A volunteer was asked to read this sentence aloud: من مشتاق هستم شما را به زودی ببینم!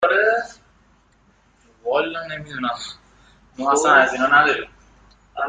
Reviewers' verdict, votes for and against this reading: rejected, 1, 2